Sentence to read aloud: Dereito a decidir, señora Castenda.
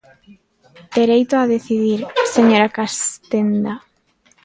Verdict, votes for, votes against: rejected, 0, 2